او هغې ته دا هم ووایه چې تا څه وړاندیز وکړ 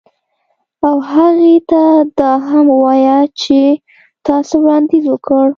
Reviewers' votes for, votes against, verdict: 2, 0, accepted